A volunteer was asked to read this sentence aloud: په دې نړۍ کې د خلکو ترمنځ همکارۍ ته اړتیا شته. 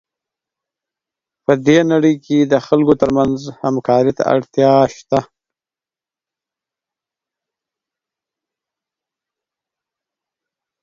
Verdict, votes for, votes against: rejected, 4, 8